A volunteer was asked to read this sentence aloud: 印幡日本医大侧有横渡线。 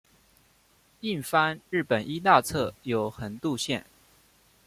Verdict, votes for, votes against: accepted, 2, 0